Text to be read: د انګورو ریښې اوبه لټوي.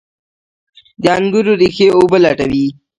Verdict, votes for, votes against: accepted, 3, 0